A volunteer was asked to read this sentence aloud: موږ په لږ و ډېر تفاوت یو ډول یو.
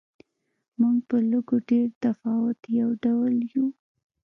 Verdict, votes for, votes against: accepted, 2, 0